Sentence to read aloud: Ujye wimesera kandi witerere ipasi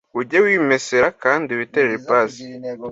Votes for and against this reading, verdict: 2, 0, accepted